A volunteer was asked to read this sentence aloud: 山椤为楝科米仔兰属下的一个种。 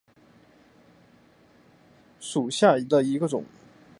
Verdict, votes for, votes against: accepted, 3, 2